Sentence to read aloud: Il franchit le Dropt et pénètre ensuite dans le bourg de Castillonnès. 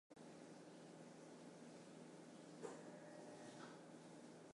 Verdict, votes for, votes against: rejected, 0, 2